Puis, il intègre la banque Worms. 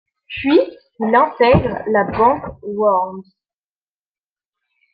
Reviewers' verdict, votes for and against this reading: accepted, 2, 1